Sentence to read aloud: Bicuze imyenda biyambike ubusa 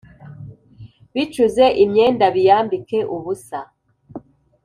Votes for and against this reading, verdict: 2, 0, accepted